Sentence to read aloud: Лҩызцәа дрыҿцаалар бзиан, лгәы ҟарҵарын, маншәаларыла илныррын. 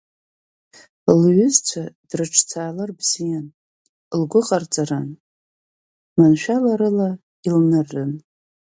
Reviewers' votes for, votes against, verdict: 2, 0, accepted